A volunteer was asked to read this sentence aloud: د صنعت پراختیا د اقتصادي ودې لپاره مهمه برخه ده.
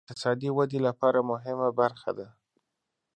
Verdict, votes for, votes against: rejected, 0, 2